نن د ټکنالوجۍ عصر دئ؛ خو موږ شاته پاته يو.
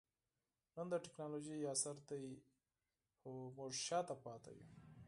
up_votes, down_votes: 4, 0